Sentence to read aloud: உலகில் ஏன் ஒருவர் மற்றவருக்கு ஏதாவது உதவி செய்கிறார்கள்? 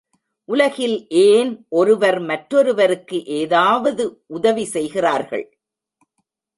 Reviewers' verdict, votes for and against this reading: rejected, 0, 2